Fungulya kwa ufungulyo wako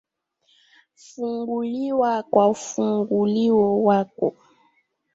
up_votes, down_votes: 2, 0